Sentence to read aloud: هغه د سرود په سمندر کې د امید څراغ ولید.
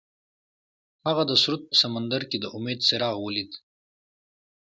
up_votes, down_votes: 2, 0